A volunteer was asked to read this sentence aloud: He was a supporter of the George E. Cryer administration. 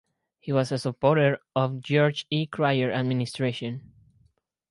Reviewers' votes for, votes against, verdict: 2, 4, rejected